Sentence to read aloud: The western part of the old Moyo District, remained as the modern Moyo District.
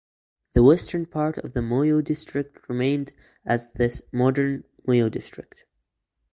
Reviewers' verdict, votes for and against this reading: rejected, 0, 2